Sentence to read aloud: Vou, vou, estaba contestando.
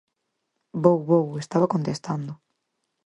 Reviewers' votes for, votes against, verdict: 4, 0, accepted